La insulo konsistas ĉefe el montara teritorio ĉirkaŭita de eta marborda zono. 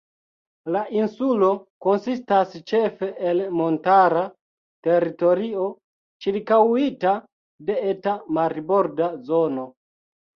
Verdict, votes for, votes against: rejected, 2, 3